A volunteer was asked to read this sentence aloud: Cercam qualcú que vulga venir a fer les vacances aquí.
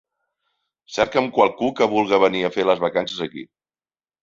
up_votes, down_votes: 0, 2